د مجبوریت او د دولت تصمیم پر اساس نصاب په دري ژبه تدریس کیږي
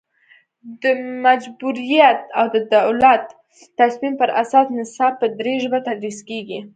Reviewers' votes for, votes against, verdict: 2, 0, accepted